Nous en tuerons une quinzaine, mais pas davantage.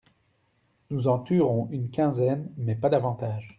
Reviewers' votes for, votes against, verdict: 2, 0, accepted